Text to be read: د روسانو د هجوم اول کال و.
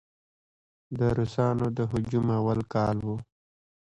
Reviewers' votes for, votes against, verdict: 1, 2, rejected